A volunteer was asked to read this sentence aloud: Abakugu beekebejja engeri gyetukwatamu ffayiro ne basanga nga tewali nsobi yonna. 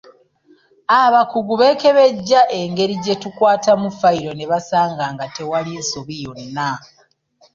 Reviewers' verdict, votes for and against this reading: rejected, 0, 2